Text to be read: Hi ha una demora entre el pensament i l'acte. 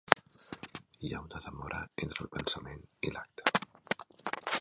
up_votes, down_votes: 0, 2